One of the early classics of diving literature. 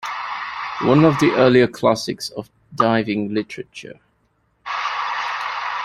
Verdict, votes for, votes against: rejected, 1, 2